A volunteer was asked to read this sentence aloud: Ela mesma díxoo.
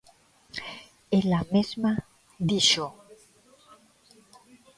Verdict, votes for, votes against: accepted, 2, 0